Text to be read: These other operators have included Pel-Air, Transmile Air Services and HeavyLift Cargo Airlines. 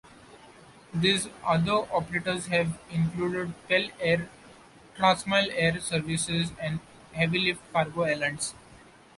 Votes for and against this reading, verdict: 1, 2, rejected